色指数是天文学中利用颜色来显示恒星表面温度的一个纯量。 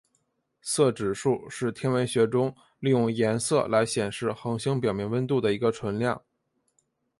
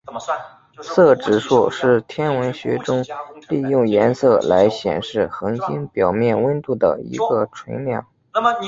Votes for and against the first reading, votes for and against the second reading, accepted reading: 4, 0, 2, 3, first